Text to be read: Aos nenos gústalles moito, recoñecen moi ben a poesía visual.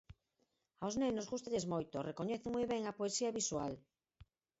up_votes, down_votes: 4, 2